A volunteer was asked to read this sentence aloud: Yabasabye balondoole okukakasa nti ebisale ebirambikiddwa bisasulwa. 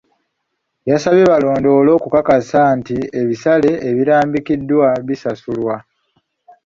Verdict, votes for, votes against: rejected, 1, 2